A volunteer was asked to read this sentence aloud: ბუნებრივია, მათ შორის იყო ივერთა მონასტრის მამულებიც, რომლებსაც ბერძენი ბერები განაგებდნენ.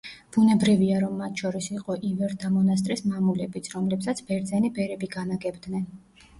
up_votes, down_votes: 1, 2